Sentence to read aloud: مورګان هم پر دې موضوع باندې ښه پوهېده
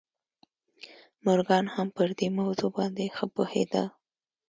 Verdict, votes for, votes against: accepted, 2, 0